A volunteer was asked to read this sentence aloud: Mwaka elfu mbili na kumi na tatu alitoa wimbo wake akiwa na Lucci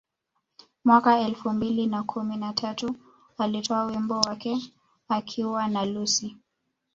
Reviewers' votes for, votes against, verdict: 2, 1, accepted